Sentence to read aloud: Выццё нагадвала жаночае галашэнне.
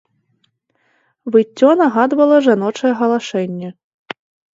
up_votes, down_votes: 2, 0